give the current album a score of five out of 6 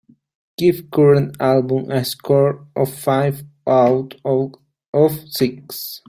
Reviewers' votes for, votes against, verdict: 0, 2, rejected